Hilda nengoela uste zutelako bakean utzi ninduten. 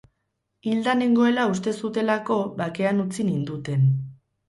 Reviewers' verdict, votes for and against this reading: accepted, 6, 0